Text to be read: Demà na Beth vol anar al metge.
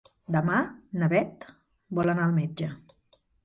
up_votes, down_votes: 4, 0